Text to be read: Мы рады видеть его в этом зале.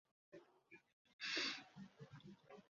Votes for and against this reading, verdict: 0, 2, rejected